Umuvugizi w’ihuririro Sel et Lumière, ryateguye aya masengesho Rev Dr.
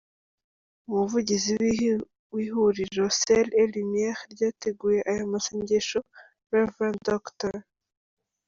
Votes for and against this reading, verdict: 0, 2, rejected